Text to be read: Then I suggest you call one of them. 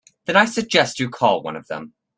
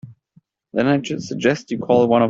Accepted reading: first